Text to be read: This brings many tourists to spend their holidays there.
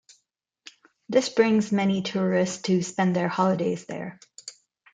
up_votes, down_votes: 2, 0